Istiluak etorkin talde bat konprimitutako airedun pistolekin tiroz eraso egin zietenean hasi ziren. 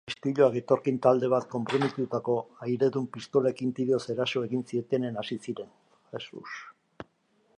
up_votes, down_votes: 0, 2